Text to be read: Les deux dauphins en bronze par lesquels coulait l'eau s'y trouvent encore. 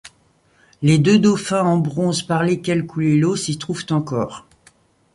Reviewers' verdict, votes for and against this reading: accepted, 2, 0